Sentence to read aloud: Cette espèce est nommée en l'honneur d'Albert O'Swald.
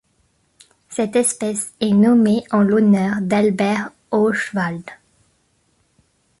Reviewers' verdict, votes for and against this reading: accepted, 2, 0